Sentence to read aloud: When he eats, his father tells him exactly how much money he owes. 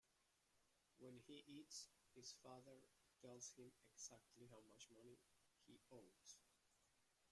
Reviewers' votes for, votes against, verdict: 0, 2, rejected